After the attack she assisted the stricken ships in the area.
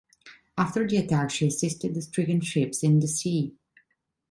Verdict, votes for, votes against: rejected, 0, 2